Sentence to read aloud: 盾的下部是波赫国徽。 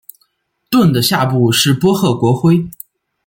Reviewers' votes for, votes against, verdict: 2, 0, accepted